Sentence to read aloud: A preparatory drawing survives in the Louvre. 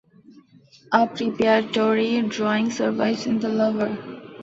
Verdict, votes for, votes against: accepted, 2, 0